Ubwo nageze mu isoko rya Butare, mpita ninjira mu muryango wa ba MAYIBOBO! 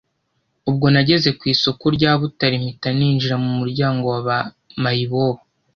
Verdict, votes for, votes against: rejected, 1, 2